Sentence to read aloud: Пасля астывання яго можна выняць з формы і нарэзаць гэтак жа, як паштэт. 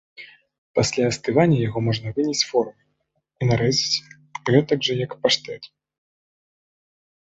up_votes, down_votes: 2, 0